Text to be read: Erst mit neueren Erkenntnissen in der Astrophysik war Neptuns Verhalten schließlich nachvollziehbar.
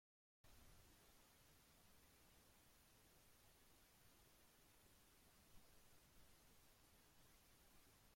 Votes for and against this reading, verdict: 0, 2, rejected